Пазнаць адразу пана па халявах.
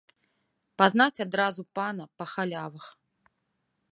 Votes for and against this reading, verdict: 2, 0, accepted